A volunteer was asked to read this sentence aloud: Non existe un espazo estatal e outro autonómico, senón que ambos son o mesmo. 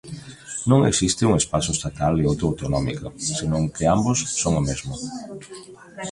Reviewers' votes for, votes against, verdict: 0, 2, rejected